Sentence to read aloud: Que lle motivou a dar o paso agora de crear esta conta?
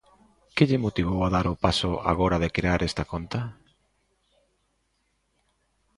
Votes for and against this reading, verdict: 2, 0, accepted